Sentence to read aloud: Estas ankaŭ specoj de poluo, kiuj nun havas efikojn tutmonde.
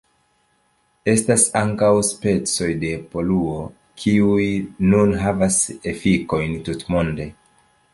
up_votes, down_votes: 2, 0